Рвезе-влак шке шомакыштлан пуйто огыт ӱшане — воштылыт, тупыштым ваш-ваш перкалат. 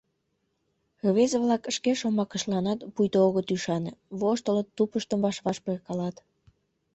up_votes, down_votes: 1, 2